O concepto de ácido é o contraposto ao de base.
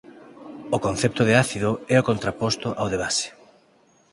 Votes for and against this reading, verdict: 4, 2, accepted